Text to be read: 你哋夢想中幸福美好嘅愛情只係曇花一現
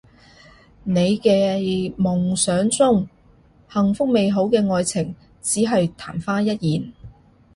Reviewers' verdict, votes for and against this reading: rejected, 1, 2